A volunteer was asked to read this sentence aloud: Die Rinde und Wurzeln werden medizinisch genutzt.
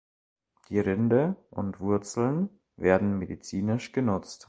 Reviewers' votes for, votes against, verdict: 2, 0, accepted